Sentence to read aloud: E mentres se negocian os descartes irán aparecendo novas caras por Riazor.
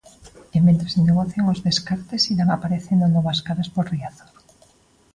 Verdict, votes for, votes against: accepted, 2, 0